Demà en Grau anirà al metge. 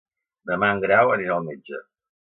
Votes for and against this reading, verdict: 2, 0, accepted